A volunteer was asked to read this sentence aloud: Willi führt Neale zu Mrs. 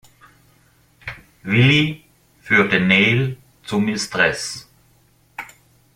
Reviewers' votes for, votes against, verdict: 0, 2, rejected